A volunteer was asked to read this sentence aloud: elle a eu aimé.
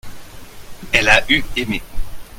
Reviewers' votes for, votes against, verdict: 2, 0, accepted